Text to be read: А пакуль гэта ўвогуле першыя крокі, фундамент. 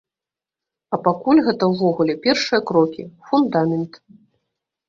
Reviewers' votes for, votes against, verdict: 2, 0, accepted